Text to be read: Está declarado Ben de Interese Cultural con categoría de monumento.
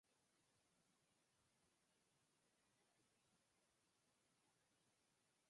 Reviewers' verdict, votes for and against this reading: rejected, 0, 4